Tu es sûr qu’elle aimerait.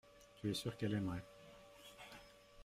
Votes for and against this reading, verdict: 2, 0, accepted